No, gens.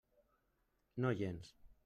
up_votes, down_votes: 0, 2